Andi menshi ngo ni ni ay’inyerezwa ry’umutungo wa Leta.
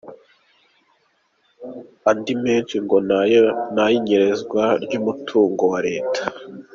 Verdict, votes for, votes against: rejected, 0, 3